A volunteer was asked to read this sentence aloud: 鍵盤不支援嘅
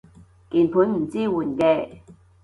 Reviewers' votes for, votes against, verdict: 0, 2, rejected